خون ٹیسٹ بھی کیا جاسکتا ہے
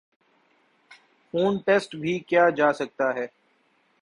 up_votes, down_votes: 2, 0